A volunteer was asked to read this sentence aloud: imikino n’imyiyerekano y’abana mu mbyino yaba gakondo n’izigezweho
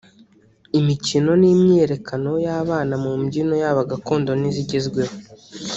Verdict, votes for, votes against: rejected, 1, 2